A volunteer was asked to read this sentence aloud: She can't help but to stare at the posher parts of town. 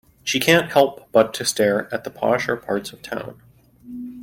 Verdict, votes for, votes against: accepted, 2, 0